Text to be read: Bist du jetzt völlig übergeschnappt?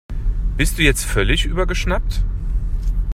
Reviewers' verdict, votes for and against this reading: accepted, 2, 0